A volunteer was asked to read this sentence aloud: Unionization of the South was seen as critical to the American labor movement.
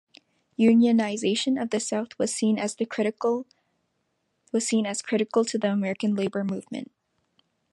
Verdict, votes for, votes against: rejected, 0, 2